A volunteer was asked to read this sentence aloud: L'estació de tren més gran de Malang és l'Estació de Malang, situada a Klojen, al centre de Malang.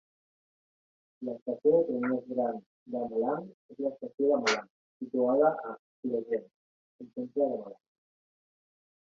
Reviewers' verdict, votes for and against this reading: accepted, 2, 1